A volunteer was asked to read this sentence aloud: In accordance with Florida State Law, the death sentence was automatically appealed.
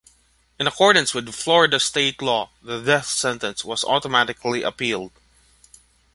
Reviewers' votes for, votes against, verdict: 3, 0, accepted